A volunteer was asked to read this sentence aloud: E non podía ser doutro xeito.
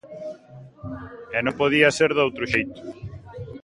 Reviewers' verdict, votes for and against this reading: rejected, 0, 2